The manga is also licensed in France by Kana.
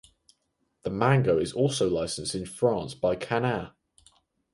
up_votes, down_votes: 4, 0